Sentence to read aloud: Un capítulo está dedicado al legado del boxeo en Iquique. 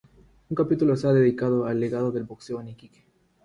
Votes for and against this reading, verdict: 0, 3, rejected